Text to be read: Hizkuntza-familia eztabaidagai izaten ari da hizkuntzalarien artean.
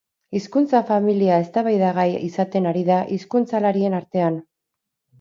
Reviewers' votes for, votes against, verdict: 2, 0, accepted